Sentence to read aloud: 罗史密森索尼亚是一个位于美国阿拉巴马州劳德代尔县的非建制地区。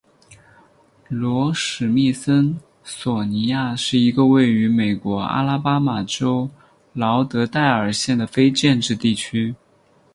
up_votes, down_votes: 4, 0